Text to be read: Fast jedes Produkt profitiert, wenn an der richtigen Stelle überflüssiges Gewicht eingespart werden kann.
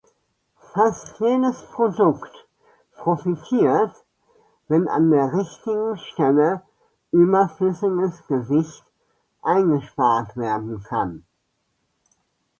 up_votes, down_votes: 2, 0